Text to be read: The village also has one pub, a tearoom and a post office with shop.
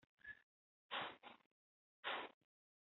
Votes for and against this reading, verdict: 0, 2, rejected